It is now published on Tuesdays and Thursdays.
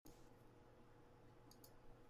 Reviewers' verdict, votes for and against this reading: rejected, 0, 2